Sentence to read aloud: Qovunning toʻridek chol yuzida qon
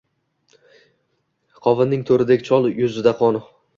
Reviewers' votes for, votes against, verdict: 2, 0, accepted